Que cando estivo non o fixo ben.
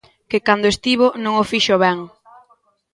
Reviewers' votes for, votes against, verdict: 2, 0, accepted